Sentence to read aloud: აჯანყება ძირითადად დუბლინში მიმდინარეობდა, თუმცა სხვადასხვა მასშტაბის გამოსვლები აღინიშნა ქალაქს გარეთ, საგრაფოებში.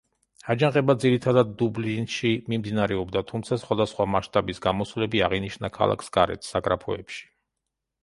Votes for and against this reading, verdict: 1, 2, rejected